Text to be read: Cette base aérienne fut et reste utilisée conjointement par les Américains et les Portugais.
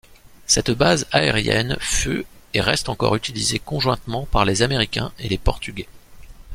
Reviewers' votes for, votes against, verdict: 0, 2, rejected